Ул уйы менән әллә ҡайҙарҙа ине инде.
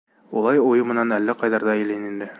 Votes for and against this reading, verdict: 1, 2, rejected